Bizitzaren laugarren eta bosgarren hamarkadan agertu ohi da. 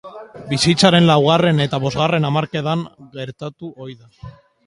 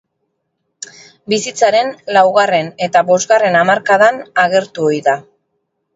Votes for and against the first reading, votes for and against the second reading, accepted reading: 0, 2, 4, 0, second